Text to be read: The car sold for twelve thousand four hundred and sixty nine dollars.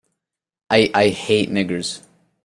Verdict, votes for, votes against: rejected, 0, 2